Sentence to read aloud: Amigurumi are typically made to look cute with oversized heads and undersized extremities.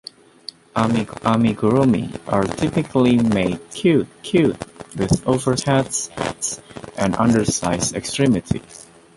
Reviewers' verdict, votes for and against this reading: rejected, 0, 2